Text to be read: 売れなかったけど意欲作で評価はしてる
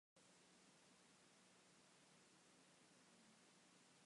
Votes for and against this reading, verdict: 1, 2, rejected